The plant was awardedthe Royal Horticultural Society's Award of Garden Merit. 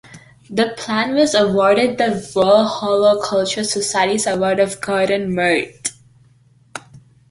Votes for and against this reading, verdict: 2, 1, accepted